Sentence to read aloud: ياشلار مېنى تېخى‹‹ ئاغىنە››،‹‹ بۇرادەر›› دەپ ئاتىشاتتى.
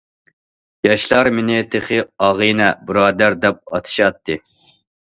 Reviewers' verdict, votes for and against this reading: rejected, 1, 2